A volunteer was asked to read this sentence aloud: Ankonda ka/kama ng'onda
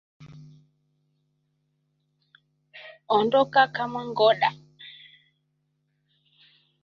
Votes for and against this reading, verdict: 0, 2, rejected